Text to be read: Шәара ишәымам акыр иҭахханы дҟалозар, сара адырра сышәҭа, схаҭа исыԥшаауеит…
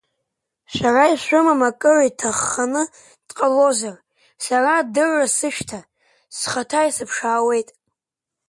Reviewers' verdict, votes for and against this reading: accepted, 2, 0